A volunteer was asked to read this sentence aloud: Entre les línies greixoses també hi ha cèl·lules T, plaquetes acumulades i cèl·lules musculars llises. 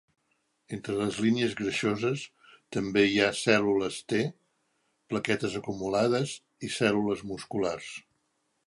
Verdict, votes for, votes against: rejected, 0, 2